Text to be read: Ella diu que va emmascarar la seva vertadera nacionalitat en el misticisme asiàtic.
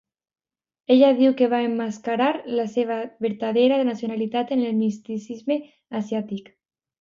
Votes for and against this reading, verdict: 2, 0, accepted